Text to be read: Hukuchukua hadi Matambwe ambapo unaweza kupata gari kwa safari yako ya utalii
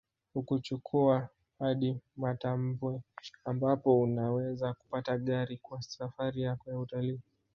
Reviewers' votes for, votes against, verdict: 2, 3, rejected